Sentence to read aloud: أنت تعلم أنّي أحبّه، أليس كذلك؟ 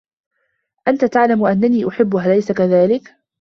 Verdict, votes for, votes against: accepted, 2, 1